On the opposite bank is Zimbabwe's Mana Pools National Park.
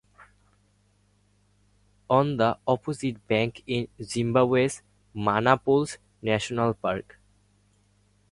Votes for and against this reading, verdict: 2, 0, accepted